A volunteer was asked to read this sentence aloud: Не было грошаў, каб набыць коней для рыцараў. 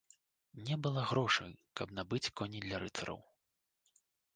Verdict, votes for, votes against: rejected, 1, 2